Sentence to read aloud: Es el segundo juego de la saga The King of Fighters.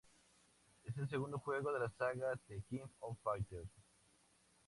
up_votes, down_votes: 2, 0